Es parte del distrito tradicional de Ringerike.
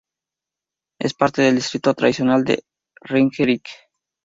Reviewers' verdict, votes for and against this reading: accepted, 2, 0